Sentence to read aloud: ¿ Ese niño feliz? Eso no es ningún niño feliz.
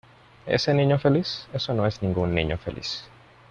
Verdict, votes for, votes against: accepted, 2, 0